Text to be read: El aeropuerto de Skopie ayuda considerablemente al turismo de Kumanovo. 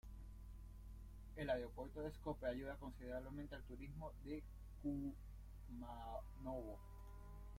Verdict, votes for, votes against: rejected, 0, 2